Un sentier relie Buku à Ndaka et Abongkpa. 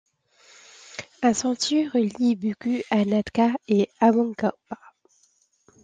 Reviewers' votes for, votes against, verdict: 1, 2, rejected